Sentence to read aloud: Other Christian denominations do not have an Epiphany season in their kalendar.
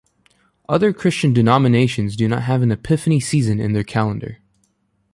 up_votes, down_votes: 2, 0